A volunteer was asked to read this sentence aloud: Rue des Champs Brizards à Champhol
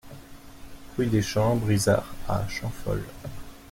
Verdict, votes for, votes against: accepted, 2, 0